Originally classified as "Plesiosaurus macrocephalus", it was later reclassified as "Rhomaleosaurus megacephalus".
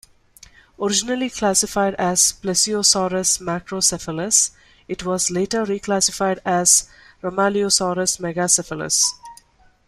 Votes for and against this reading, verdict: 1, 2, rejected